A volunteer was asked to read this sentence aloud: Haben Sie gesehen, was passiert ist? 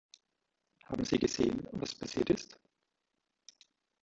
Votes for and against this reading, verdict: 1, 2, rejected